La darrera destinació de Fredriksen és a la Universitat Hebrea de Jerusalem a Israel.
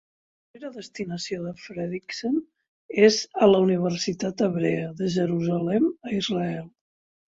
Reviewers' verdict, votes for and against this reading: rejected, 3, 4